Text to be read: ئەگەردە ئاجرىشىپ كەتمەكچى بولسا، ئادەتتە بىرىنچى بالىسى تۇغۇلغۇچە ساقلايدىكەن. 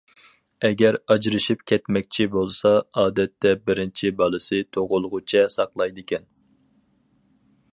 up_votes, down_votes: 2, 2